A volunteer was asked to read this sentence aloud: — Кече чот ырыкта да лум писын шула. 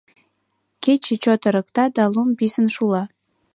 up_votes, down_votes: 2, 0